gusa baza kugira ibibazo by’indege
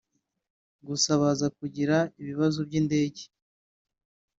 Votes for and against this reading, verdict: 1, 2, rejected